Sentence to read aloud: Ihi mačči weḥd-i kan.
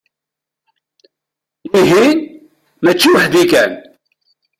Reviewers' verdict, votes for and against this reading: rejected, 1, 2